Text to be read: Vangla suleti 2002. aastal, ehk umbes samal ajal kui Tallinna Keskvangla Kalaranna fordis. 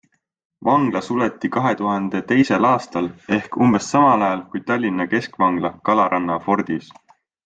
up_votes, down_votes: 0, 2